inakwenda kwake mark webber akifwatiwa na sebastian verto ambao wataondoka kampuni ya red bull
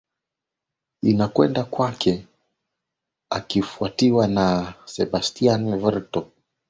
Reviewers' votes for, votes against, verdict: 6, 11, rejected